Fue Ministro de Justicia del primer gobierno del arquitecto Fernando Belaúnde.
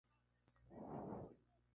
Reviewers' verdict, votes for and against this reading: rejected, 0, 2